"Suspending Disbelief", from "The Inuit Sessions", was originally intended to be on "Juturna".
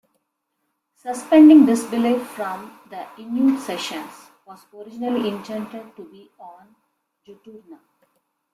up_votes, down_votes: 2, 1